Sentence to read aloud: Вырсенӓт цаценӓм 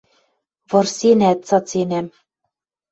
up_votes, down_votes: 2, 0